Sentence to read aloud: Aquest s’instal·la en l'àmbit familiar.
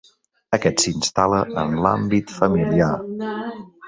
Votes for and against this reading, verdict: 1, 2, rejected